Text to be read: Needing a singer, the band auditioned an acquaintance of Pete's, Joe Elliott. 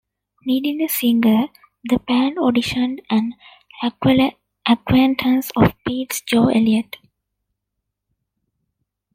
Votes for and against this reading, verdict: 1, 2, rejected